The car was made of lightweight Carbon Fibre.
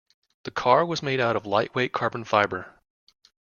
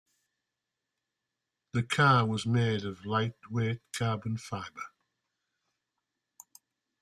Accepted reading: second